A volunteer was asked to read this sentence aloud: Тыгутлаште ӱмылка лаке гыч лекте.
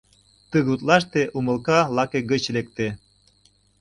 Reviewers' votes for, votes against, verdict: 0, 2, rejected